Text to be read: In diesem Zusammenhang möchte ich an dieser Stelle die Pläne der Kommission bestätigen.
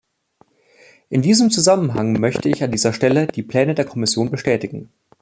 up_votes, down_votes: 2, 0